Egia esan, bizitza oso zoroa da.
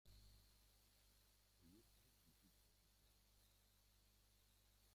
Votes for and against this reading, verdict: 0, 2, rejected